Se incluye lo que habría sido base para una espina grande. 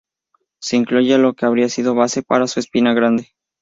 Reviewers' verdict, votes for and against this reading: rejected, 0, 2